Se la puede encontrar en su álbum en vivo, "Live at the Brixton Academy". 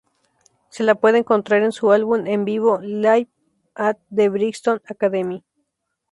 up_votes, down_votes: 2, 0